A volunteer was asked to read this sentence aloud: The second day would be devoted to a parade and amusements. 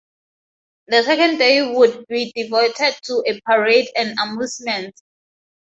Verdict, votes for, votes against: rejected, 0, 2